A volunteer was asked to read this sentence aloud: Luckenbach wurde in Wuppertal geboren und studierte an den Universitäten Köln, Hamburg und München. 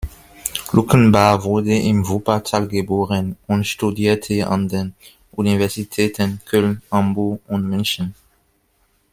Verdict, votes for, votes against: rejected, 0, 2